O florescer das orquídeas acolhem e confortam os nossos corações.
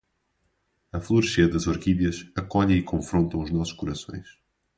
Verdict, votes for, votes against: rejected, 2, 2